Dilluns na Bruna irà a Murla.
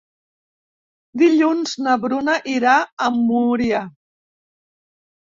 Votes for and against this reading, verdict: 0, 2, rejected